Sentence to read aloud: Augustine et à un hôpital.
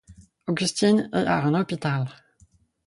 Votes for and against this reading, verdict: 0, 4, rejected